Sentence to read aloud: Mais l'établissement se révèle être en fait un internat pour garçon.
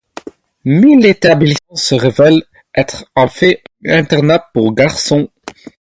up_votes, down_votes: 0, 2